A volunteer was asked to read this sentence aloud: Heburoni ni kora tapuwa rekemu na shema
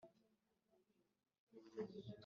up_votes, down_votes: 0, 2